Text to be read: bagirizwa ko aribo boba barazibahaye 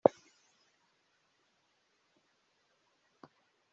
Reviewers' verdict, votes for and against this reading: rejected, 0, 2